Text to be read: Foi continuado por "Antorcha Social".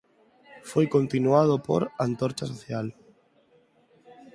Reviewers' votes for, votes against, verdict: 4, 2, accepted